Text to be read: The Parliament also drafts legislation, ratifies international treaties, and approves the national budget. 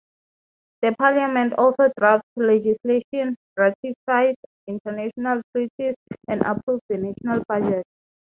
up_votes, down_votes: 3, 6